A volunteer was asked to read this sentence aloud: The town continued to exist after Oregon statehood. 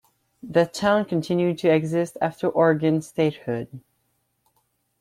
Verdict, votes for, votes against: accepted, 2, 0